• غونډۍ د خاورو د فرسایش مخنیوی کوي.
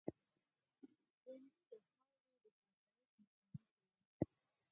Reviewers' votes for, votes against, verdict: 0, 4, rejected